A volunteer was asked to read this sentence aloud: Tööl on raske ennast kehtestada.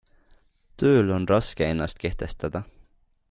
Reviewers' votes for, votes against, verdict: 2, 0, accepted